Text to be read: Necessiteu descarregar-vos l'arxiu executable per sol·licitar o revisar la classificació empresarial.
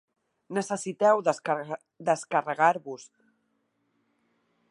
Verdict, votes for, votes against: rejected, 1, 2